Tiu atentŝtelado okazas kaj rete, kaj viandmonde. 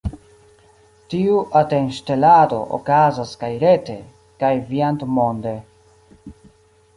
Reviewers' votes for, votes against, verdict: 1, 2, rejected